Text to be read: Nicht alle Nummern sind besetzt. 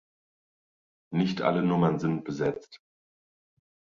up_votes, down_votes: 2, 0